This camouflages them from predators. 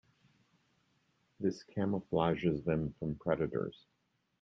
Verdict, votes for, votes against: accepted, 2, 0